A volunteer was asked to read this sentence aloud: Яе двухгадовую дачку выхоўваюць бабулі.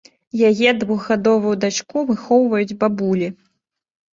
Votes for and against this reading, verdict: 2, 0, accepted